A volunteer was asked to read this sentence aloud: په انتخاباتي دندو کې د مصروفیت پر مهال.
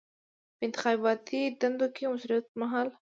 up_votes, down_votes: 2, 0